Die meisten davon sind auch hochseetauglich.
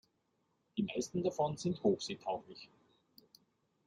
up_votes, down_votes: 0, 2